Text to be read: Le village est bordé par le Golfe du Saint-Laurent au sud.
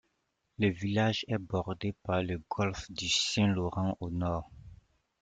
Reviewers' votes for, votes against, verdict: 0, 2, rejected